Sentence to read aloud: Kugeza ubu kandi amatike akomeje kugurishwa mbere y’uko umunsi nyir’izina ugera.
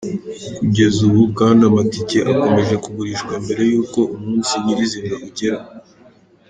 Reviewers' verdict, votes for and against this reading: accepted, 3, 1